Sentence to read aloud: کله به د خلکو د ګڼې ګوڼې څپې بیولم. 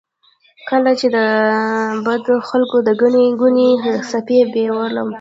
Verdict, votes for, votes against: rejected, 1, 2